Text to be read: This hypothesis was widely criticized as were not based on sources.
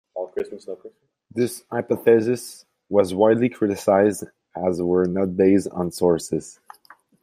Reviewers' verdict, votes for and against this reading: accepted, 2, 0